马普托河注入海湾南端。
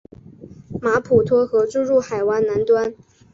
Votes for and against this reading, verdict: 6, 0, accepted